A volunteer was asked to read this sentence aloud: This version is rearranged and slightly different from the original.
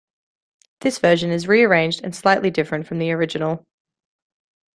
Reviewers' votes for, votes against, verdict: 2, 0, accepted